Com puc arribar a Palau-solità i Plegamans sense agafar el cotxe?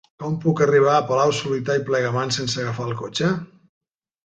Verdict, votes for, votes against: accepted, 2, 0